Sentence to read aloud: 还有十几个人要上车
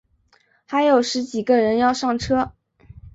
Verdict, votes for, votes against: accepted, 2, 0